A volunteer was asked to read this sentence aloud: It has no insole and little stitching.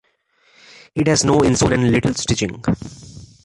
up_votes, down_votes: 2, 0